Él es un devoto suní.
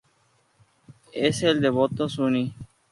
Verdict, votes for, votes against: rejected, 0, 2